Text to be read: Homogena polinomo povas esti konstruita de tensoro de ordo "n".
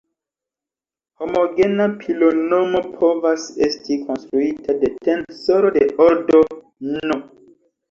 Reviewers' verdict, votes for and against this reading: rejected, 1, 2